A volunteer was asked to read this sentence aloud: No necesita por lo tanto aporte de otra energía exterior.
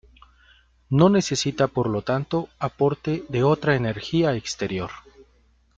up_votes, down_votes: 2, 0